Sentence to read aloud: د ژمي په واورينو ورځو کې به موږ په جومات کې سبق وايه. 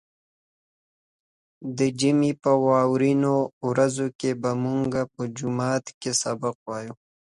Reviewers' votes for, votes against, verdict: 2, 0, accepted